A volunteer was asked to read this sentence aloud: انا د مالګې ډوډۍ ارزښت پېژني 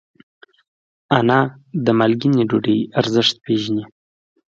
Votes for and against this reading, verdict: 2, 0, accepted